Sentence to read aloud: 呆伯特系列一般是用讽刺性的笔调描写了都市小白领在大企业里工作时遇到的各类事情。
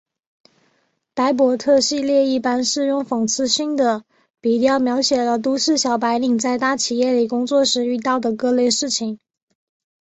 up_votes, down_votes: 1, 2